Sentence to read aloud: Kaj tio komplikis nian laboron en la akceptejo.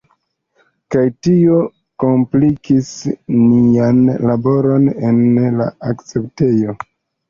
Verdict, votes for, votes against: accepted, 2, 1